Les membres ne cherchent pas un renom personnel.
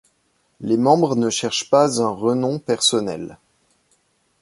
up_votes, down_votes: 1, 2